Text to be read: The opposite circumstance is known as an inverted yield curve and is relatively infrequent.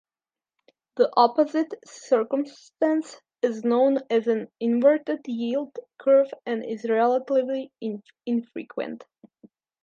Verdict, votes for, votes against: rejected, 1, 2